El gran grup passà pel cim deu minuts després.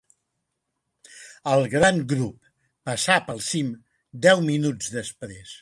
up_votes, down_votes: 2, 1